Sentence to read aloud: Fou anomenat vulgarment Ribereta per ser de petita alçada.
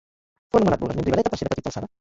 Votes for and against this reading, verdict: 1, 2, rejected